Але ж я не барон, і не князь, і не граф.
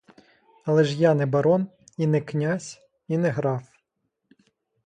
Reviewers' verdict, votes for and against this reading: accepted, 2, 0